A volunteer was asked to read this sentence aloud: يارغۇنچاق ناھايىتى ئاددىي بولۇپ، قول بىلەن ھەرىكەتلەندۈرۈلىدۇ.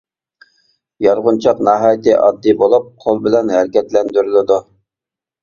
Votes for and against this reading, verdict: 2, 0, accepted